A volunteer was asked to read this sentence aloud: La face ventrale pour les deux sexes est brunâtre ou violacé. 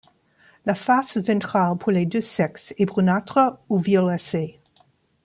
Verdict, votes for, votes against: rejected, 1, 2